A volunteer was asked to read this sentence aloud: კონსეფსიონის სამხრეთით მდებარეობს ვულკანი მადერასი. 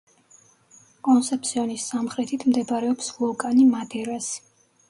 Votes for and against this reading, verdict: 2, 0, accepted